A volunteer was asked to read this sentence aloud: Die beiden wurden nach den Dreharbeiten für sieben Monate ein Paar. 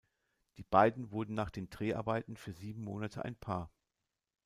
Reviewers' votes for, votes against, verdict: 2, 0, accepted